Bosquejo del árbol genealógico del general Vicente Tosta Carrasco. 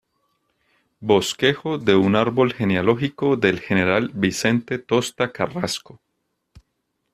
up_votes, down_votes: 0, 2